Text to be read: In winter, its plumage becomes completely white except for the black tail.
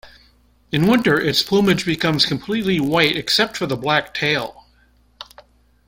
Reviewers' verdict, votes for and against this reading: accepted, 2, 0